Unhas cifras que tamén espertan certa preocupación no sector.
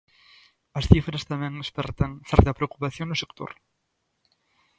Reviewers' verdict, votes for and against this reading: rejected, 1, 2